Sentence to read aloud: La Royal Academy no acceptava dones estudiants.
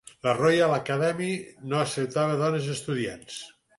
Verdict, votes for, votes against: accepted, 4, 0